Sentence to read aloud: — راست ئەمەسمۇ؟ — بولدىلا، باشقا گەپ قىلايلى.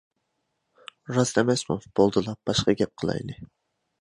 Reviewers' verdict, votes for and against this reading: accepted, 2, 0